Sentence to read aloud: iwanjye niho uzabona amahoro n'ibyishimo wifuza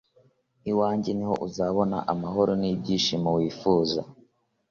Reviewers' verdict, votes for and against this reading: accepted, 2, 0